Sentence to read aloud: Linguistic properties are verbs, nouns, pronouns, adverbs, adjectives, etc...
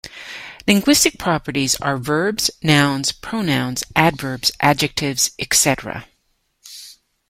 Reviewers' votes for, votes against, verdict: 2, 1, accepted